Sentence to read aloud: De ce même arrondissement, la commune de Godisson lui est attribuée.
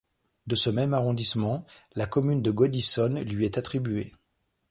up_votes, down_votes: 0, 2